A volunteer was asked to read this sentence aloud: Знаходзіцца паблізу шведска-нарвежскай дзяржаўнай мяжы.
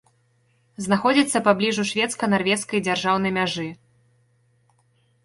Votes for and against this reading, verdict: 0, 2, rejected